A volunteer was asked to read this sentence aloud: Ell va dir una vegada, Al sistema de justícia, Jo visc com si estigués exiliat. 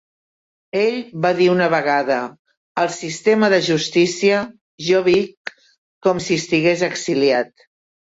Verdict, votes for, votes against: rejected, 0, 2